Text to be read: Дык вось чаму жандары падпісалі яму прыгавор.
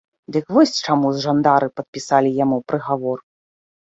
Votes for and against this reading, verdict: 2, 0, accepted